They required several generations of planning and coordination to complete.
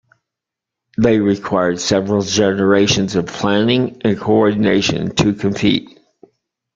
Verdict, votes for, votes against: rejected, 0, 2